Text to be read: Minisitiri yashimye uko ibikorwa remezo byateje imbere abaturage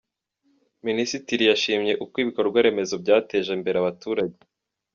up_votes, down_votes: 0, 2